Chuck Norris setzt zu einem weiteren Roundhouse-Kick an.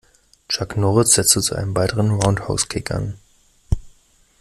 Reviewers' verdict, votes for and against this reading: rejected, 0, 2